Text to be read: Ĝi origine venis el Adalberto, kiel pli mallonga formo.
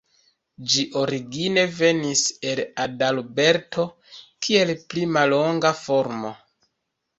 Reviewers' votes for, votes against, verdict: 1, 2, rejected